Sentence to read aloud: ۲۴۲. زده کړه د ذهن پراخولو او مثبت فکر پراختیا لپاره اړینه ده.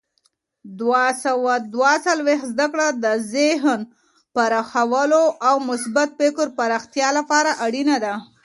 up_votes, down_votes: 0, 2